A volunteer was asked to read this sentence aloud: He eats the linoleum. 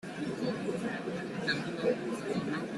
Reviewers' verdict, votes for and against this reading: rejected, 0, 2